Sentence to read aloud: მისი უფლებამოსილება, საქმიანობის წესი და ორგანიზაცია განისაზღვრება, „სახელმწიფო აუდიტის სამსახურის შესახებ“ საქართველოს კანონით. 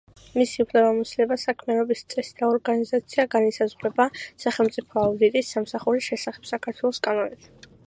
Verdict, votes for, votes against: accepted, 2, 0